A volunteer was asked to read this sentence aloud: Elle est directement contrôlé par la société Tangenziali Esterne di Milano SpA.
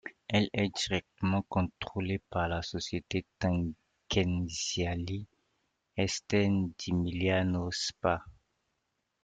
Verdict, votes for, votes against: rejected, 1, 2